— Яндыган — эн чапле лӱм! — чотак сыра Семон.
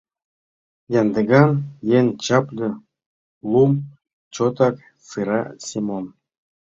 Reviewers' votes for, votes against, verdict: 1, 2, rejected